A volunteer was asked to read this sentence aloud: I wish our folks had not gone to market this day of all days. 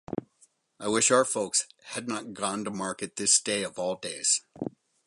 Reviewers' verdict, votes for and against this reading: accepted, 4, 0